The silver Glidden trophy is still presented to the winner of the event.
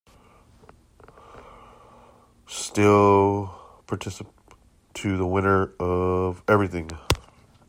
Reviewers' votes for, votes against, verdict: 0, 2, rejected